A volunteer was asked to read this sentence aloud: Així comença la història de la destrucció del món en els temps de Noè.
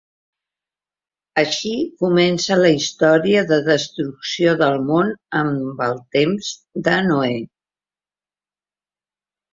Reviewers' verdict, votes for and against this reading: rejected, 1, 2